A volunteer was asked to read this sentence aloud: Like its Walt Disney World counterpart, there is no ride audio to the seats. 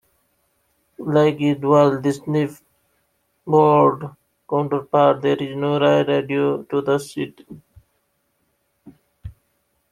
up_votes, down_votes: 2, 1